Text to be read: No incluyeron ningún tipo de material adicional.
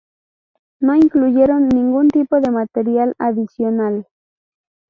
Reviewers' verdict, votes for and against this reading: rejected, 0, 2